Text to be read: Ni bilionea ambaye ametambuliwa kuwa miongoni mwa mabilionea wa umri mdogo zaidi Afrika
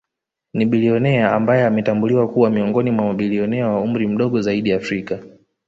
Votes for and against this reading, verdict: 0, 2, rejected